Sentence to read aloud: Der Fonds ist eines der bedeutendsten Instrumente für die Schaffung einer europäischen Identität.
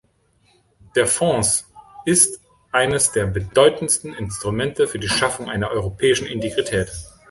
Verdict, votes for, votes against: rejected, 1, 2